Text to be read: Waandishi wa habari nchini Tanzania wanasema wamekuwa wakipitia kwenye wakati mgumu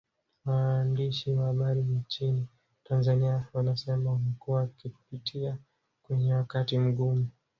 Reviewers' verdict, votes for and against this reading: rejected, 1, 2